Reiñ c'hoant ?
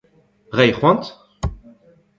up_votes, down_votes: 2, 0